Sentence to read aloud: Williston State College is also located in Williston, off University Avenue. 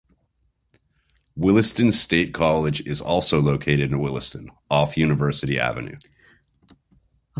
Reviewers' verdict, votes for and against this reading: accepted, 2, 1